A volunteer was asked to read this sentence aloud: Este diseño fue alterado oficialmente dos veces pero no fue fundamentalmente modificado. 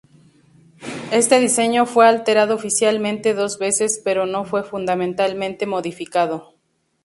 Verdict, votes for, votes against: rejected, 2, 2